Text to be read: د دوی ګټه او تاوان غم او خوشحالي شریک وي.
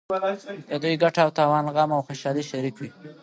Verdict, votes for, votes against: accepted, 2, 1